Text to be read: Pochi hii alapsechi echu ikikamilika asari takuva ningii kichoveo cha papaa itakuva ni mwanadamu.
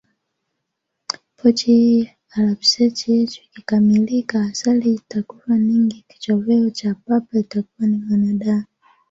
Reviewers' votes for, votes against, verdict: 1, 2, rejected